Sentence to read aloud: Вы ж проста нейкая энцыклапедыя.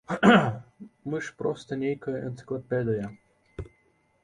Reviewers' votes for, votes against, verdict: 1, 2, rejected